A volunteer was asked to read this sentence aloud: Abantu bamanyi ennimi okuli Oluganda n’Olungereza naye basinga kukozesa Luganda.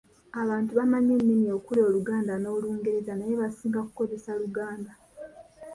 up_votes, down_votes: 2, 0